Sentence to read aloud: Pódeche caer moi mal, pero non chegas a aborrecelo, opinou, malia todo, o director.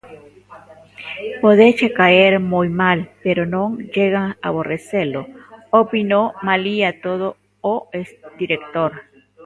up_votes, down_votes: 0, 2